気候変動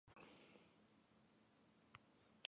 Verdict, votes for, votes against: rejected, 0, 2